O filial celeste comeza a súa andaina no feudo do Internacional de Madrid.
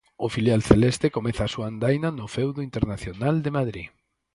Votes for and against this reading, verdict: 2, 4, rejected